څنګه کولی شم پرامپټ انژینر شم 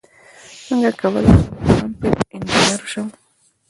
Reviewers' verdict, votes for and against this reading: rejected, 1, 2